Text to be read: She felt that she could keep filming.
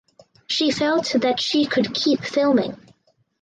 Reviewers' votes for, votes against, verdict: 4, 0, accepted